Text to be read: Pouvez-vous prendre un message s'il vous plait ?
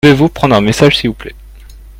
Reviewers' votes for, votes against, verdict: 1, 2, rejected